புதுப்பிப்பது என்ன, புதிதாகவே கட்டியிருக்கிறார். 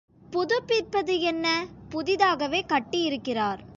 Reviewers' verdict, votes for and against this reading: accepted, 2, 0